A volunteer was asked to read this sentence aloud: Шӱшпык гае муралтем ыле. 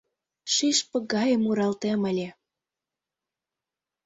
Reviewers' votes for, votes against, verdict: 2, 0, accepted